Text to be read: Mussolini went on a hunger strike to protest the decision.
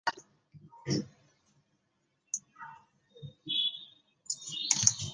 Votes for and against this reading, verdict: 0, 2, rejected